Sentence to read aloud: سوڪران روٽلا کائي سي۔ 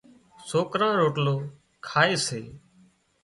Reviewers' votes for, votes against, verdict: 1, 2, rejected